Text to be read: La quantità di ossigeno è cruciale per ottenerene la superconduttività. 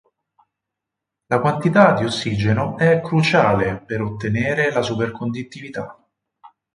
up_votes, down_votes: 2, 4